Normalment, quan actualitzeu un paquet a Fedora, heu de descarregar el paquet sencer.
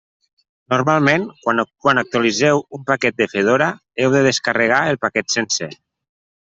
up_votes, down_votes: 1, 2